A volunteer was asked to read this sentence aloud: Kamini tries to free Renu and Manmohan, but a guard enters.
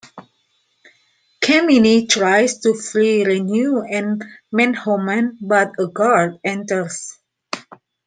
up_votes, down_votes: 0, 2